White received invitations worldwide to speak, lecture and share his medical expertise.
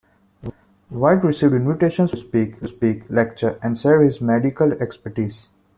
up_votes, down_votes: 0, 2